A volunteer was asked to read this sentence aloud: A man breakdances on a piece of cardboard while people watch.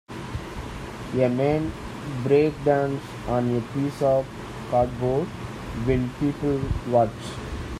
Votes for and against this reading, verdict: 1, 2, rejected